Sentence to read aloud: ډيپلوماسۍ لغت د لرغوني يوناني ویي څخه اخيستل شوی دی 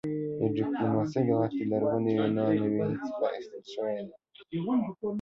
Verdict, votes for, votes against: rejected, 1, 2